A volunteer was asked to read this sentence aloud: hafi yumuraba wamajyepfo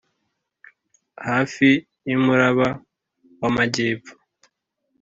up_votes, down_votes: 3, 0